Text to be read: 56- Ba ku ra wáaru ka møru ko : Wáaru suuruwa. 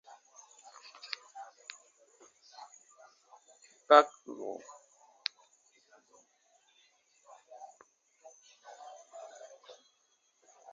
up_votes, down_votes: 0, 2